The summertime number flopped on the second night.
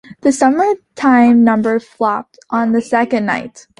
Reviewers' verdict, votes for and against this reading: accepted, 2, 0